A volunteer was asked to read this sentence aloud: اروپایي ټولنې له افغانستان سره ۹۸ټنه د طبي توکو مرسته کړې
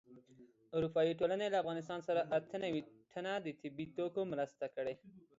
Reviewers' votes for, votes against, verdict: 0, 2, rejected